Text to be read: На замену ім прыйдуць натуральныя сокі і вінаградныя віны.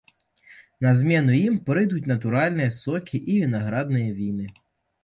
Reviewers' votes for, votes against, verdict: 1, 2, rejected